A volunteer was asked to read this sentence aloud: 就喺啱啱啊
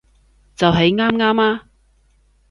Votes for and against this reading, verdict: 2, 0, accepted